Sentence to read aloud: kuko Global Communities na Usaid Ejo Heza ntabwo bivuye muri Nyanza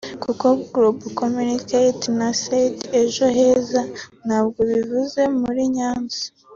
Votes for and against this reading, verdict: 2, 1, accepted